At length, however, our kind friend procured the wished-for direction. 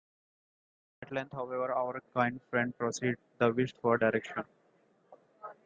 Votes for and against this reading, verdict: 0, 2, rejected